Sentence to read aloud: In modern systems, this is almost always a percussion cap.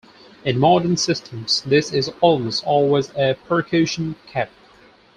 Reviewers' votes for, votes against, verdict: 2, 4, rejected